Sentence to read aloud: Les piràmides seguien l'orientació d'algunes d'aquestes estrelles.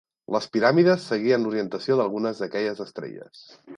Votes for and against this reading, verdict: 1, 2, rejected